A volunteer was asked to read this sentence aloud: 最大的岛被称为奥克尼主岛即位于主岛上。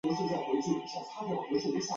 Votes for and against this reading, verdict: 1, 3, rejected